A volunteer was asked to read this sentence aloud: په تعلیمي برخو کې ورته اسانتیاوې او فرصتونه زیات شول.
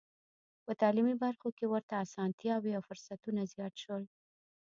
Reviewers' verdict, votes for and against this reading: accepted, 2, 0